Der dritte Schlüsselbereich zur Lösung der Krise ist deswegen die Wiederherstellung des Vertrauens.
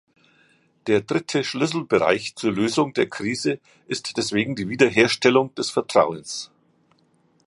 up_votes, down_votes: 2, 0